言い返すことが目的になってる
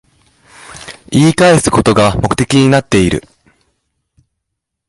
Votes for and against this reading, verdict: 1, 2, rejected